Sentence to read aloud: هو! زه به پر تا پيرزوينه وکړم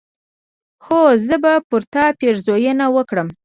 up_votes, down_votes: 0, 2